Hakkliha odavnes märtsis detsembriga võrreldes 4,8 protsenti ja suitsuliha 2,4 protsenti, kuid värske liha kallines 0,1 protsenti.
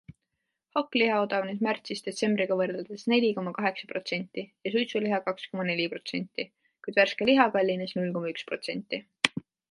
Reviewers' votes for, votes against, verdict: 0, 2, rejected